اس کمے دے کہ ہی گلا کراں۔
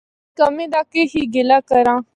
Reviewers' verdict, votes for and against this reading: rejected, 0, 2